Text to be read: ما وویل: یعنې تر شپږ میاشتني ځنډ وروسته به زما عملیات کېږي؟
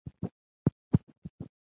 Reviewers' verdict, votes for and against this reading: rejected, 0, 2